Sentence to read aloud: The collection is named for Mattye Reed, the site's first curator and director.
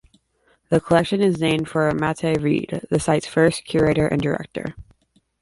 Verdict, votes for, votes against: accepted, 2, 0